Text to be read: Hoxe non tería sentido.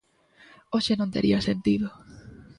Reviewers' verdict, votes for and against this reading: accepted, 2, 0